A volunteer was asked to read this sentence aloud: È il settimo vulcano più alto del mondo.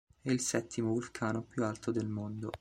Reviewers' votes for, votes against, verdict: 2, 1, accepted